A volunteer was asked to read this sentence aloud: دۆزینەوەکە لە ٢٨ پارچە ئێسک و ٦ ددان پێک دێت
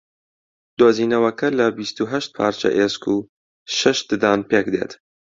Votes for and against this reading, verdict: 0, 2, rejected